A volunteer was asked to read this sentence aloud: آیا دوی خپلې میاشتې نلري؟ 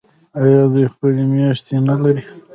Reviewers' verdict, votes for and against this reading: rejected, 0, 2